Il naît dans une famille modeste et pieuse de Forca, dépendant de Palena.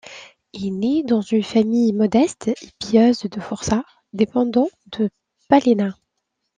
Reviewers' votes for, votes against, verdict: 2, 0, accepted